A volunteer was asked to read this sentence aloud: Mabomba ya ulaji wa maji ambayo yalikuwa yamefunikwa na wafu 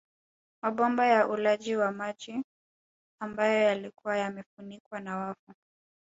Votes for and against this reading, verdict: 0, 2, rejected